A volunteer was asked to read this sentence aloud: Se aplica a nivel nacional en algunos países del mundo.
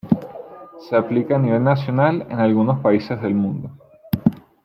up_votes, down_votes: 2, 1